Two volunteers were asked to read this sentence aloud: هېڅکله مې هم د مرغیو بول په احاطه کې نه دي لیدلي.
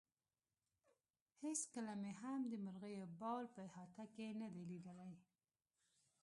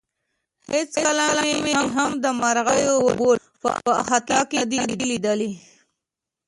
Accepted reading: second